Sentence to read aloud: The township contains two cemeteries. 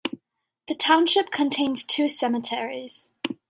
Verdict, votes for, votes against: accepted, 2, 0